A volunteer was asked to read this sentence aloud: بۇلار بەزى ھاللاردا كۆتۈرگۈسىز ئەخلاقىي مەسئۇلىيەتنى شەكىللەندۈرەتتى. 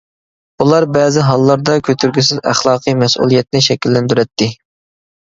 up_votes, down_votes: 2, 0